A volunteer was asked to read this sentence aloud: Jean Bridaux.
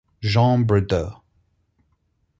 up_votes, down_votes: 4, 0